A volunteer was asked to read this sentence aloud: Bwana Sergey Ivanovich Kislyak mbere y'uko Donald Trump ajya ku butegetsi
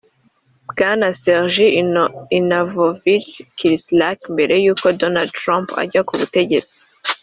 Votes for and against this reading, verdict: 1, 3, rejected